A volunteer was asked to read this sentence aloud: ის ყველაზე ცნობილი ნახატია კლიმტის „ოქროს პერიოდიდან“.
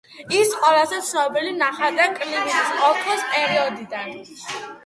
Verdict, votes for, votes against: rejected, 0, 2